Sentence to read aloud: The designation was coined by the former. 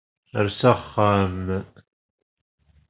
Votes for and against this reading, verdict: 0, 2, rejected